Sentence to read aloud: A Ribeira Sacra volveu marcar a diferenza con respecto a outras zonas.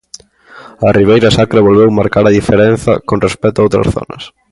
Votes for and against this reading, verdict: 2, 0, accepted